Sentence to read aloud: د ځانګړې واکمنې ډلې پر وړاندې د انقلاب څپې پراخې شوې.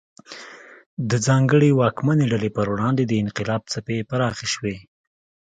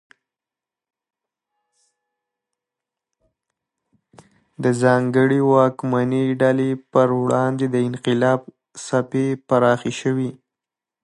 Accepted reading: first